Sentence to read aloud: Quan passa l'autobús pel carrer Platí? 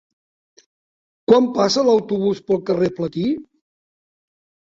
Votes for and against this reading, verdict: 3, 0, accepted